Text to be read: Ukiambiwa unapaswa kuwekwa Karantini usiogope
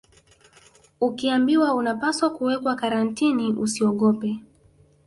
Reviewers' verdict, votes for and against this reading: rejected, 1, 2